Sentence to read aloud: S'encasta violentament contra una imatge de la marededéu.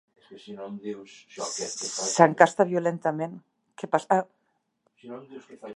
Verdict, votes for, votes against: rejected, 0, 2